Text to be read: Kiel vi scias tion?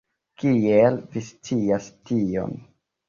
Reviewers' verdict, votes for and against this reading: accepted, 2, 1